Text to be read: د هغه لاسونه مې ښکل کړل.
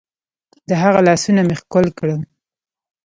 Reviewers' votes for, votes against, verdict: 0, 2, rejected